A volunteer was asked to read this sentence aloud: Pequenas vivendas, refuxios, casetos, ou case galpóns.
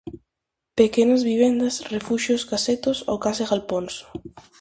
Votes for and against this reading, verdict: 4, 0, accepted